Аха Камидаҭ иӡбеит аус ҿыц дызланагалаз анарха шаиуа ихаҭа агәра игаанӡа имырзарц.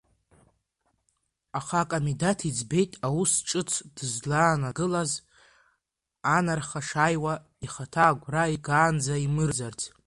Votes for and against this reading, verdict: 0, 2, rejected